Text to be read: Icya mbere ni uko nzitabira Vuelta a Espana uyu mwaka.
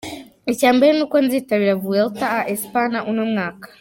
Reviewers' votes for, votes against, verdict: 0, 2, rejected